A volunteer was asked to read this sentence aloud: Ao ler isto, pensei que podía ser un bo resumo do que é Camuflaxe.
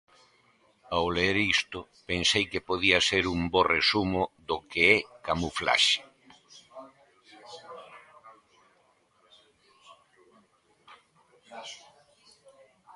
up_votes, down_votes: 0, 2